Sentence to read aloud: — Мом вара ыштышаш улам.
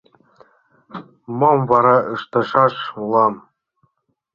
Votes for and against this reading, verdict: 1, 2, rejected